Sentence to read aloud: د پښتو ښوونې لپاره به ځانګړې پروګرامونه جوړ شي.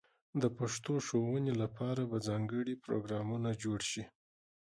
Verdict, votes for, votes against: accepted, 2, 0